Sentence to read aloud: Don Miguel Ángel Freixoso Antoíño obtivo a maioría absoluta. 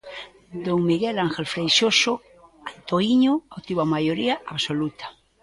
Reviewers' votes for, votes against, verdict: 2, 0, accepted